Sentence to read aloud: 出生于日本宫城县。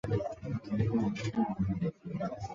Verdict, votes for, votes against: rejected, 0, 4